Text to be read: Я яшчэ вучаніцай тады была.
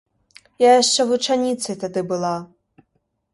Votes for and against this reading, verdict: 2, 0, accepted